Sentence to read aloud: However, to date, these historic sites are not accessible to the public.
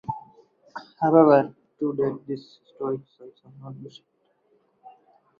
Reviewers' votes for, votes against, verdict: 0, 4, rejected